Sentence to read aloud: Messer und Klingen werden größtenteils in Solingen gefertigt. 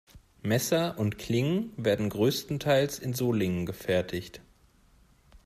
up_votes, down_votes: 2, 0